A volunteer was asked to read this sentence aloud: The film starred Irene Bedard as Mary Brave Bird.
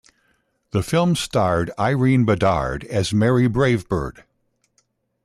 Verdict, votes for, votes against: accepted, 2, 0